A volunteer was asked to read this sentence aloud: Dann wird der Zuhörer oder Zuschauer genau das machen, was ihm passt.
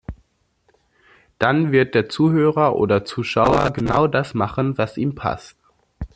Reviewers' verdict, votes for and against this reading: accepted, 2, 0